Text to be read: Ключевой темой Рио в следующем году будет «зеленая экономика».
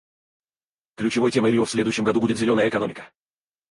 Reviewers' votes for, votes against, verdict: 2, 2, rejected